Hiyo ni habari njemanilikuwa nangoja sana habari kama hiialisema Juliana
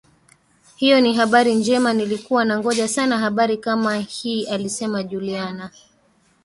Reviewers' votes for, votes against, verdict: 1, 2, rejected